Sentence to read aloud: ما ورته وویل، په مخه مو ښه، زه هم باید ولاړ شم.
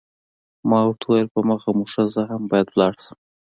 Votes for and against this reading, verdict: 2, 0, accepted